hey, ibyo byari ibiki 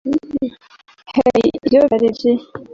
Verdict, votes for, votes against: rejected, 0, 2